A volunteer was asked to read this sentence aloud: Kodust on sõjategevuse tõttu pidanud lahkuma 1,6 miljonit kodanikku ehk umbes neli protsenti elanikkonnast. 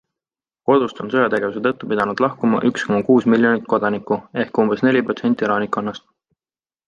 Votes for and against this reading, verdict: 0, 2, rejected